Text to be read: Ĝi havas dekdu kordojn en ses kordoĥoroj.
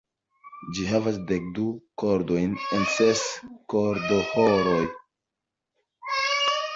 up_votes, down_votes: 2, 1